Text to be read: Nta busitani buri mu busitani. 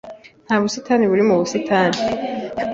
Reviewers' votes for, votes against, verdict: 2, 0, accepted